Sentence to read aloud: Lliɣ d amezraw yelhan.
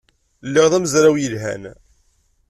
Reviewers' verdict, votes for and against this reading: accepted, 2, 0